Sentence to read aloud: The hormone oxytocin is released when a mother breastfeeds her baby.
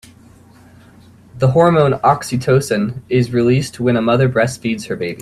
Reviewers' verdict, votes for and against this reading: accepted, 2, 0